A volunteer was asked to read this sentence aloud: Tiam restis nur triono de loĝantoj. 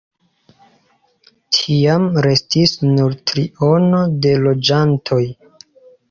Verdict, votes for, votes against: accepted, 2, 0